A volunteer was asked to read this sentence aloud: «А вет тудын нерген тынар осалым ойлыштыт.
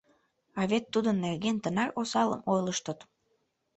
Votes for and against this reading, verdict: 3, 1, accepted